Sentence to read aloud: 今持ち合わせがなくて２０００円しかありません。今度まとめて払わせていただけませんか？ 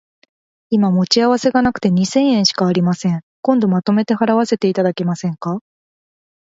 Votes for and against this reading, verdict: 0, 2, rejected